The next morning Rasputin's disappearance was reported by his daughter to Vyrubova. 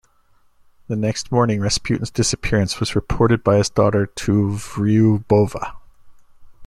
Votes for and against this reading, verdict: 0, 2, rejected